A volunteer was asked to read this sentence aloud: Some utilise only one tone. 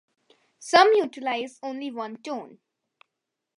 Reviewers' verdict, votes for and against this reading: accepted, 2, 0